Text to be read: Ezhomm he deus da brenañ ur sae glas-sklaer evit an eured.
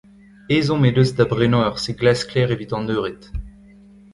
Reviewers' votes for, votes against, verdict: 0, 2, rejected